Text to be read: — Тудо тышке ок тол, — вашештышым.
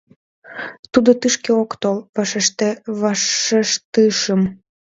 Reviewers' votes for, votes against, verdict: 0, 2, rejected